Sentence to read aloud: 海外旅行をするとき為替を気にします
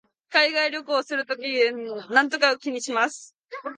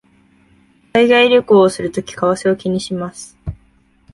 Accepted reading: second